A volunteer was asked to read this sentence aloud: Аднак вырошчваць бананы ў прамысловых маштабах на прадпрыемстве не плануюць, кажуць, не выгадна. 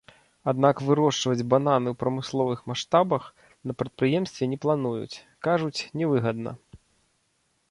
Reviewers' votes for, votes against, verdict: 0, 2, rejected